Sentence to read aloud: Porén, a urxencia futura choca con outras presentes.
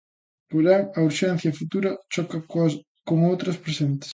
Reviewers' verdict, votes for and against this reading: rejected, 0, 2